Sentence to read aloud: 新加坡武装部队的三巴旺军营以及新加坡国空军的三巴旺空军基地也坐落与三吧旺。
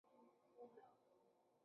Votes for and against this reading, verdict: 1, 4, rejected